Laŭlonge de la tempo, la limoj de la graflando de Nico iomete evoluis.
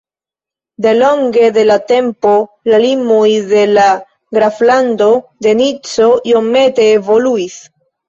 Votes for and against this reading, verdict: 1, 2, rejected